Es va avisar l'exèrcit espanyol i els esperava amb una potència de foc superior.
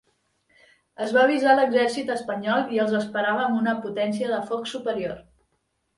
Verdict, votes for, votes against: accepted, 3, 0